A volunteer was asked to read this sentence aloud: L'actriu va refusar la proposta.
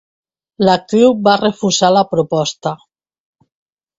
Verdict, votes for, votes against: accepted, 3, 0